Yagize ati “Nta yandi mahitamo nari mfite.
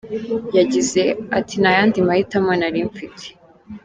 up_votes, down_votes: 2, 0